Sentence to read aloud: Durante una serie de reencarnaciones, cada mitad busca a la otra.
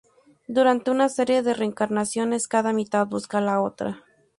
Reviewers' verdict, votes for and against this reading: rejected, 0, 2